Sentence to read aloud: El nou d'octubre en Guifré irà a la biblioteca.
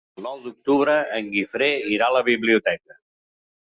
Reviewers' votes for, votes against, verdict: 1, 2, rejected